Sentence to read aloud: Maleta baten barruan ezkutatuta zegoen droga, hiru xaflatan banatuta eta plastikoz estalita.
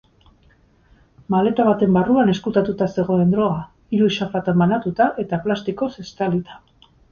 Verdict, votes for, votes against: accepted, 2, 0